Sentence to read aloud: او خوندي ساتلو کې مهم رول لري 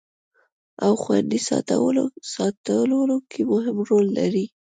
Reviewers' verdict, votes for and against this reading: rejected, 1, 2